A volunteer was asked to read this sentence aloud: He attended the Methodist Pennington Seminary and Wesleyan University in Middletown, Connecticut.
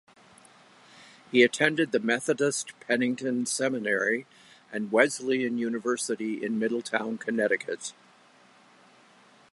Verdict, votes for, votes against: accepted, 2, 0